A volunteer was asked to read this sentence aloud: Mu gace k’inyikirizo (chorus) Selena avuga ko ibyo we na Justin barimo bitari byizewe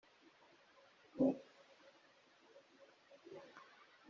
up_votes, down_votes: 1, 2